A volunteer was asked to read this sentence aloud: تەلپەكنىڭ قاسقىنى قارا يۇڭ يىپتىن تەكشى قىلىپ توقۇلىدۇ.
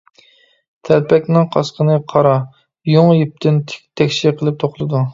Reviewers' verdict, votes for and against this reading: rejected, 0, 2